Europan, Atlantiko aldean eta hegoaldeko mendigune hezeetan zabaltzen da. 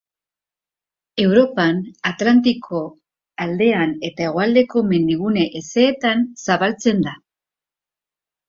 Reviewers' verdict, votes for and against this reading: accepted, 2, 0